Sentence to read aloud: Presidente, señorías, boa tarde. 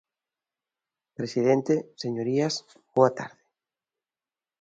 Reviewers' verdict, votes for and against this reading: accepted, 2, 0